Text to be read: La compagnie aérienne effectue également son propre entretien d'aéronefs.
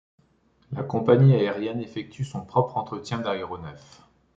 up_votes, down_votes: 1, 2